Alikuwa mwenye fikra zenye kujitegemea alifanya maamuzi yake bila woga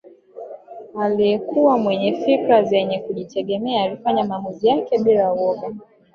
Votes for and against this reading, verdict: 0, 2, rejected